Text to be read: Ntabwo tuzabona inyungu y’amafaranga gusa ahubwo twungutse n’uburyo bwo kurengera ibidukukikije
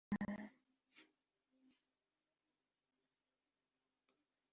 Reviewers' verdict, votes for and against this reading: rejected, 1, 2